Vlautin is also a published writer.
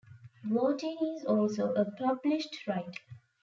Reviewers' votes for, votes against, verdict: 3, 0, accepted